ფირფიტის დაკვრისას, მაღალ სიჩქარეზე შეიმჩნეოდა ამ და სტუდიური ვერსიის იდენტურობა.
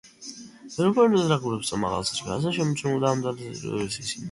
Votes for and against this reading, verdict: 0, 2, rejected